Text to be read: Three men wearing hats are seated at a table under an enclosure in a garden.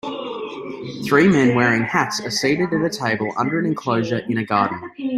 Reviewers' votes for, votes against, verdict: 2, 1, accepted